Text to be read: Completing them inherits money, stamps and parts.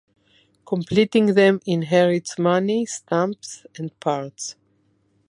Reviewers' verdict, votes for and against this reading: accepted, 2, 1